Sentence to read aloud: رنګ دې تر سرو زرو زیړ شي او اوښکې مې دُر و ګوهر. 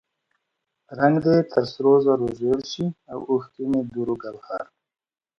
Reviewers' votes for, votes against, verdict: 2, 0, accepted